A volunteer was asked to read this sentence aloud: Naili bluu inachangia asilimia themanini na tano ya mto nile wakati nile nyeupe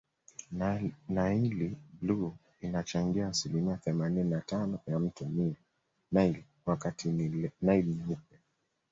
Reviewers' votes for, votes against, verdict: 1, 2, rejected